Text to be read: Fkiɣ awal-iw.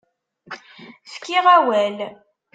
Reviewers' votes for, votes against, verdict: 0, 2, rejected